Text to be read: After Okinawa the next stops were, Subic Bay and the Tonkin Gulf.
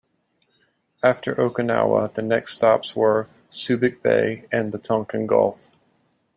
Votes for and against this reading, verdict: 2, 0, accepted